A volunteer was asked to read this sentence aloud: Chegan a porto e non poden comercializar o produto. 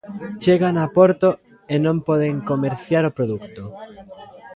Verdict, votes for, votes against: rejected, 0, 2